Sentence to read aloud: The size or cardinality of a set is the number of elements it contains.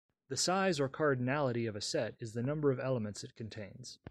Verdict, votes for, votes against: accepted, 2, 0